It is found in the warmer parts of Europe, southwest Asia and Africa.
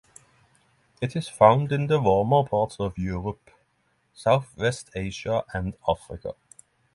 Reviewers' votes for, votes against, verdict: 3, 0, accepted